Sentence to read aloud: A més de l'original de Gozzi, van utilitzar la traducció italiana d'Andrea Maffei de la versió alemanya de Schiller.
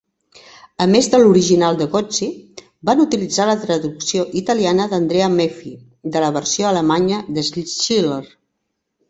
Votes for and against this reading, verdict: 0, 2, rejected